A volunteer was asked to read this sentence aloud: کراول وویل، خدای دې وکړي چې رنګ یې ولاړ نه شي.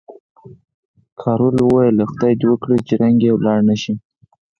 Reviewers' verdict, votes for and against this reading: accepted, 4, 0